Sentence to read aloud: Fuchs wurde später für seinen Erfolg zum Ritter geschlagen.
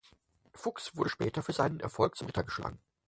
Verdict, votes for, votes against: rejected, 2, 4